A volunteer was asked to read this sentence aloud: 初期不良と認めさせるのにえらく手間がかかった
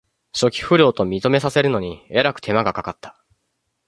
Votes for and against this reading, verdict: 2, 0, accepted